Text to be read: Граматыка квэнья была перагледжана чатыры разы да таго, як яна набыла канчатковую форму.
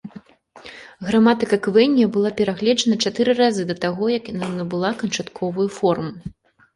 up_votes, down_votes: 1, 2